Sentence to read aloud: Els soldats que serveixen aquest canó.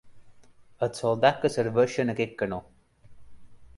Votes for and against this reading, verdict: 2, 0, accepted